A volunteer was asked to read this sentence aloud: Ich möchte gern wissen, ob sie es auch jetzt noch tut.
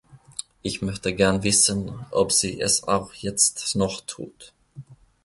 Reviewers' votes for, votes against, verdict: 2, 0, accepted